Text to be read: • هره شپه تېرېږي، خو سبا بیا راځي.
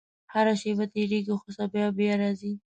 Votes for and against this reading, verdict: 1, 2, rejected